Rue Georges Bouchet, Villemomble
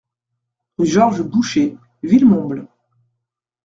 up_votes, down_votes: 2, 1